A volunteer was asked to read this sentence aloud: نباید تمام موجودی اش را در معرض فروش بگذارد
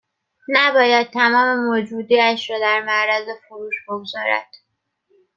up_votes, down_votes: 2, 0